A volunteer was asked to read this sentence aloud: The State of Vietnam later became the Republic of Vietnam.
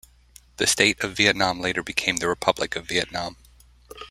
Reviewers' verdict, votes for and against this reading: rejected, 1, 2